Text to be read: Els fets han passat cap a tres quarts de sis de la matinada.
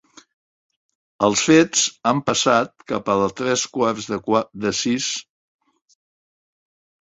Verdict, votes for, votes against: rejected, 0, 2